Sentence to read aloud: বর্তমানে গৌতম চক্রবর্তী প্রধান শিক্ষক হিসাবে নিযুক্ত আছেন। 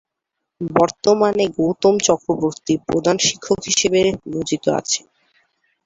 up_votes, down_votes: 4, 4